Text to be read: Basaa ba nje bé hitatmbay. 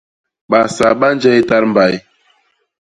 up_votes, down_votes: 0, 2